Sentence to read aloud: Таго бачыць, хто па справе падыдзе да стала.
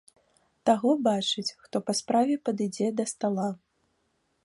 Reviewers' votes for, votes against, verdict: 1, 2, rejected